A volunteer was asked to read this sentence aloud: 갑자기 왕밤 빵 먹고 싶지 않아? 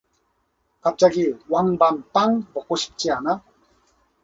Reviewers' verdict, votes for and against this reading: accepted, 2, 0